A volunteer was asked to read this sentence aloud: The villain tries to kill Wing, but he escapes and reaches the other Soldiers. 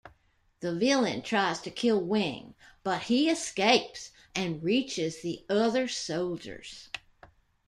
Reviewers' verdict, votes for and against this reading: accepted, 2, 1